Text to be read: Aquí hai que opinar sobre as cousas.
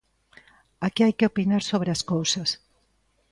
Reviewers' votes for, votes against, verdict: 2, 0, accepted